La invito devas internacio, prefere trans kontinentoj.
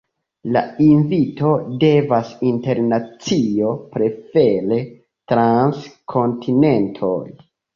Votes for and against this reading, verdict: 2, 0, accepted